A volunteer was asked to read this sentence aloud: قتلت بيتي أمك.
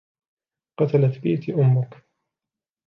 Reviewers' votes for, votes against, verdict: 2, 1, accepted